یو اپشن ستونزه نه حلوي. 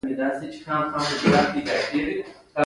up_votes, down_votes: 1, 2